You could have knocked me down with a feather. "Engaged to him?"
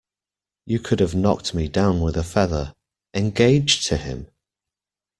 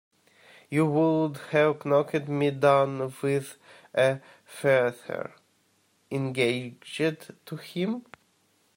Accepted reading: first